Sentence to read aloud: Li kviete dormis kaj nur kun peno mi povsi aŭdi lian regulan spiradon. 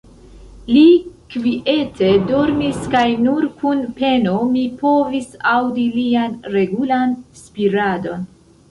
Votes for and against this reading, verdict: 0, 2, rejected